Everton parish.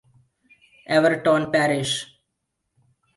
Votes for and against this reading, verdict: 2, 0, accepted